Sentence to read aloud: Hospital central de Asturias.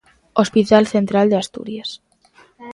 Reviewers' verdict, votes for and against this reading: accepted, 2, 0